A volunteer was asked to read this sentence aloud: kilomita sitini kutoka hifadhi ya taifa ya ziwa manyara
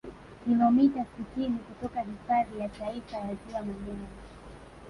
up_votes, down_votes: 1, 2